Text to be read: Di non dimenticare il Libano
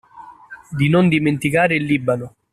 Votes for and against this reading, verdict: 2, 0, accepted